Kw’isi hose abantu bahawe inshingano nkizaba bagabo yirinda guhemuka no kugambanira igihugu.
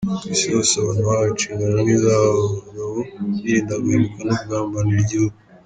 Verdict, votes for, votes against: rejected, 1, 2